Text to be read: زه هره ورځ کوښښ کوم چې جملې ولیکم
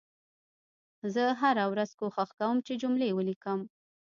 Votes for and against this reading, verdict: 1, 2, rejected